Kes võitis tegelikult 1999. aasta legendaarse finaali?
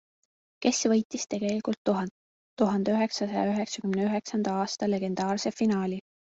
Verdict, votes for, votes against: rejected, 0, 2